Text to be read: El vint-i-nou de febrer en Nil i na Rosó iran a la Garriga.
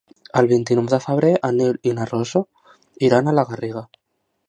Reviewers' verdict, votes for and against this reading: rejected, 1, 2